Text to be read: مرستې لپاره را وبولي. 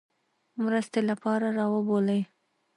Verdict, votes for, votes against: rejected, 0, 2